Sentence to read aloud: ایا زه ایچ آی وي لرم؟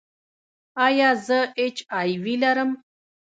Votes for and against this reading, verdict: 2, 1, accepted